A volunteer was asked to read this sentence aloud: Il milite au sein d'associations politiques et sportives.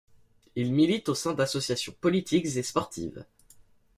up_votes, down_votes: 2, 0